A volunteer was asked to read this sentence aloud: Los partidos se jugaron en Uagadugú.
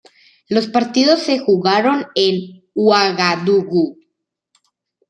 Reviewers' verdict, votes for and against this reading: rejected, 1, 2